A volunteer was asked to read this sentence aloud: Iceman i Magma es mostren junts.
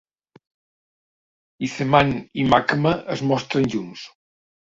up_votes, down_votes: 1, 2